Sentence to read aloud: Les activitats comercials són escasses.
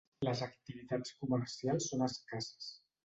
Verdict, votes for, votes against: accepted, 2, 0